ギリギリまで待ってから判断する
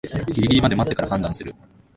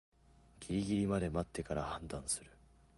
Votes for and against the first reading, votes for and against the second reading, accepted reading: 2, 0, 2, 4, first